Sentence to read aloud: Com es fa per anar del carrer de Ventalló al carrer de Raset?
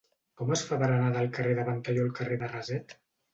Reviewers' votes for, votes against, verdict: 1, 2, rejected